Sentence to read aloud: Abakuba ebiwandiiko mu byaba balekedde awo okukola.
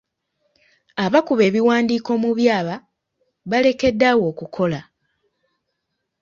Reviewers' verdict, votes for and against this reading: rejected, 1, 2